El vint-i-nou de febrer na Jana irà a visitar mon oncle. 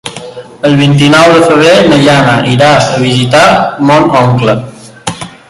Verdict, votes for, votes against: rejected, 0, 2